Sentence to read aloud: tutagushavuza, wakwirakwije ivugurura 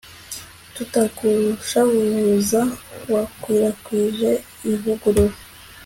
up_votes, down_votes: 2, 0